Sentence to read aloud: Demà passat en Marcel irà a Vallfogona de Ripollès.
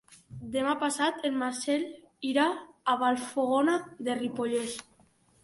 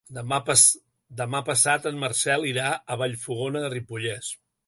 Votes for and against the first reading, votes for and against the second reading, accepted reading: 2, 0, 2, 5, first